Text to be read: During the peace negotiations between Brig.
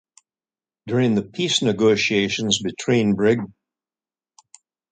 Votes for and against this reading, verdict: 2, 0, accepted